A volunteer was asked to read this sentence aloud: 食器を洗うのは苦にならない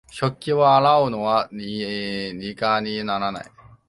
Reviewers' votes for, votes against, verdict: 0, 2, rejected